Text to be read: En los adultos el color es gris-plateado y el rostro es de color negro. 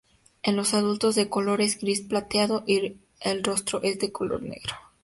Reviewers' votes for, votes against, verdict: 4, 6, rejected